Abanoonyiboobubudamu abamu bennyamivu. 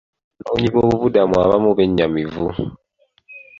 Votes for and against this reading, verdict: 0, 2, rejected